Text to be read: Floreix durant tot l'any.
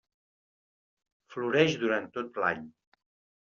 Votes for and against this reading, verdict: 3, 0, accepted